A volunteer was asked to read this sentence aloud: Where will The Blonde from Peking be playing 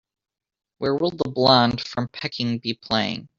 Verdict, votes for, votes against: accepted, 3, 1